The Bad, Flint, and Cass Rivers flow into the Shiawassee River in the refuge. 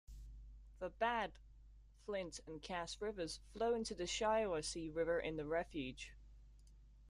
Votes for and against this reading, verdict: 2, 0, accepted